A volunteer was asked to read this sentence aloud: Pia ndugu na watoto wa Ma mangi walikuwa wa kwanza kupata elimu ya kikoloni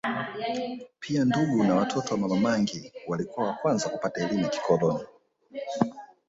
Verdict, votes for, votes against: accepted, 2, 0